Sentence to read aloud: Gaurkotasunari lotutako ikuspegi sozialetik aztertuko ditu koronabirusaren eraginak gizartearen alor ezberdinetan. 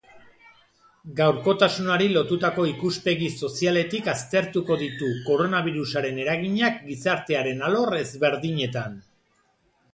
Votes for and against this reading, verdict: 2, 0, accepted